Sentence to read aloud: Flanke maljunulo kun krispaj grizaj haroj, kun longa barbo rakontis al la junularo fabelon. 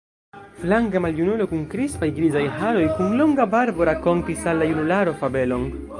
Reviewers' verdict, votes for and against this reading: rejected, 1, 2